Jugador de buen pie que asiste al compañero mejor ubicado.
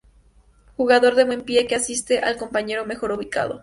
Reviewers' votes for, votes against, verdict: 0, 2, rejected